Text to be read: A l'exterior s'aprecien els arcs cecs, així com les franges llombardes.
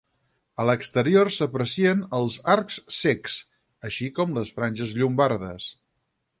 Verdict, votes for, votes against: rejected, 2, 4